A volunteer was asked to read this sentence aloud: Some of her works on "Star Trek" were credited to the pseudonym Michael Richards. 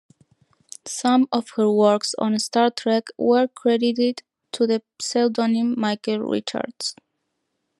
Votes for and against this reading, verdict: 0, 2, rejected